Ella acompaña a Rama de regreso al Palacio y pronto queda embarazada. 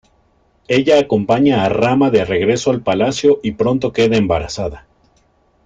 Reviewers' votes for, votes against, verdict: 2, 1, accepted